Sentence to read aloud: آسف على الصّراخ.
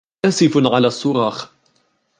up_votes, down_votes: 2, 0